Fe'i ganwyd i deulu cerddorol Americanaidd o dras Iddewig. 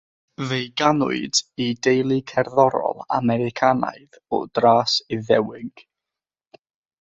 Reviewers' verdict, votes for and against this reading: accepted, 6, 0